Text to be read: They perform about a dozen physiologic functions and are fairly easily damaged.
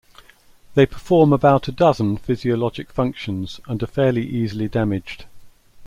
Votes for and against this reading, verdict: 2, 0, accepted